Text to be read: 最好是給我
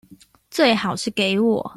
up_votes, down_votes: 2, 0